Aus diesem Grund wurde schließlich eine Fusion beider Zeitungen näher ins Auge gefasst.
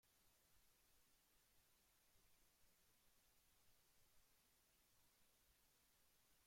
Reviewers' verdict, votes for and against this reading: rejected, 0, 2